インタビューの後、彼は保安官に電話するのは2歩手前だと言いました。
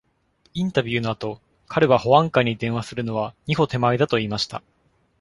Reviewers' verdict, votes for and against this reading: rejected, 0, 2